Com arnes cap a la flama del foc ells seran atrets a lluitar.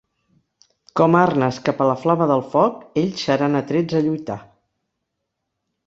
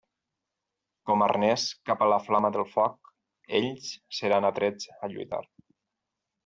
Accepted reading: first